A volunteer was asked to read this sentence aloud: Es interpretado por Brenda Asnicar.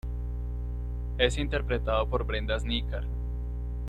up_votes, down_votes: 2, 0